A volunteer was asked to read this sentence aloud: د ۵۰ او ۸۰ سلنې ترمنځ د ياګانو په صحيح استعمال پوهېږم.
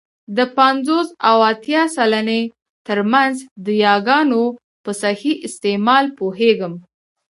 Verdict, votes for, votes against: rejected, 0, 2